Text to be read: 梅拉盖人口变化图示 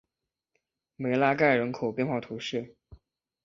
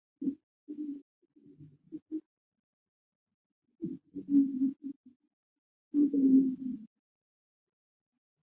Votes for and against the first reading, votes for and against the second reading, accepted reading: 2, 0, 0, 4, first